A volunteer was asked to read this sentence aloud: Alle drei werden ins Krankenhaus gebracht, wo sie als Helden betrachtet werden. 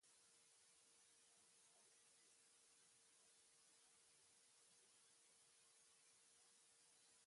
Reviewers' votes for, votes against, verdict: 0, 2, rejected